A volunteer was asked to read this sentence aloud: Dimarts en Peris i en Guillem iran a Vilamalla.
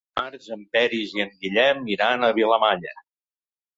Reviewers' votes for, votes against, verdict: 0, 2, rejected